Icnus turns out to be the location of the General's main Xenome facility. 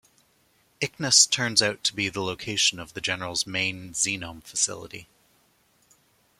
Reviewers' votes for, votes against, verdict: 2, 0, accepted